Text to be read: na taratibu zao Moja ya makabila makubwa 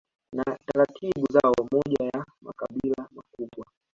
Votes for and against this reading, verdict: 1, 2, rejected